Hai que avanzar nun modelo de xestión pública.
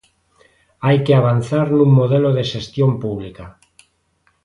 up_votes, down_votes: 2, 0